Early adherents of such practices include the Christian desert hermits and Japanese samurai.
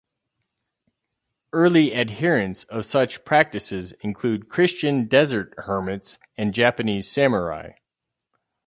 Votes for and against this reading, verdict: 0, 2, rejected